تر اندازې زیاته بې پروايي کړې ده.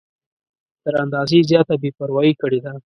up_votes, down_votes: 2, 0